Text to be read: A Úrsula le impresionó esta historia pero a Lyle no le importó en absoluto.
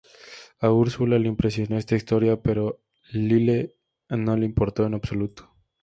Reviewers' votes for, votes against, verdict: 2, 0, accepted